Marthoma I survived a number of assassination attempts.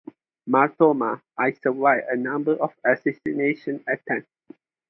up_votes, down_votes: 2, 2